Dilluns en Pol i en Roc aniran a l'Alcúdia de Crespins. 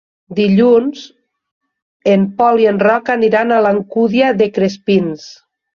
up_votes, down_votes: 2, 0